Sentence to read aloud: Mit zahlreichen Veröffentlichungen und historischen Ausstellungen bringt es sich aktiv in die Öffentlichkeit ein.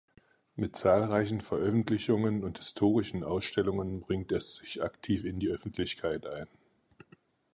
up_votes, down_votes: 4, 0